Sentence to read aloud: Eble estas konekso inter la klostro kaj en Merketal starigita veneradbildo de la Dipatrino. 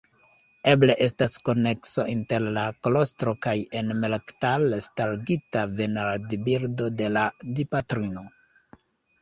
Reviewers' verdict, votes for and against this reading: rejected, 1, 2